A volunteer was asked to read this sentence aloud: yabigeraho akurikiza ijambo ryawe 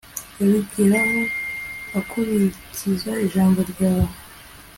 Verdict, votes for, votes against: accepted, 2, 0